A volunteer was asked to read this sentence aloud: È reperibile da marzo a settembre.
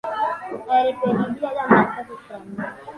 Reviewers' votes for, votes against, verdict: 3, 1, accepted